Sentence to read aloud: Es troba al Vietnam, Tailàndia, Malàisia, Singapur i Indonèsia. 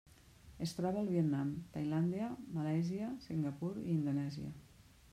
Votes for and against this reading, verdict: 2, 0, accepted